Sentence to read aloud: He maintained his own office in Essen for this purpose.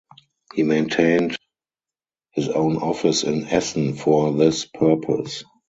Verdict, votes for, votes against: rejected, 2, 2